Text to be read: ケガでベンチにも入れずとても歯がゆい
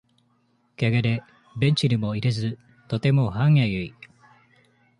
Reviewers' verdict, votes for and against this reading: rejected, 1, 2